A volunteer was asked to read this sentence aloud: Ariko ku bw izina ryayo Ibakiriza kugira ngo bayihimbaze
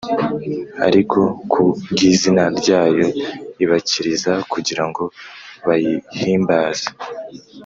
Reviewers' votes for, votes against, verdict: 2, 0, accepted